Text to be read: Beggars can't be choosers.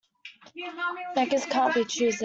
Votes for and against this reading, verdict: 0, 2, rejected